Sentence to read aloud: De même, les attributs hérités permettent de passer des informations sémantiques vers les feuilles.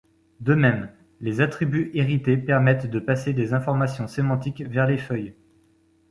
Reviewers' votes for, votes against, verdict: 2, 0, accepted